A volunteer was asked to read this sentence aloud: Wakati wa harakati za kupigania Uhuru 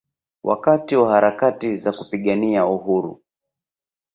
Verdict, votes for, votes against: rejected, 1, 2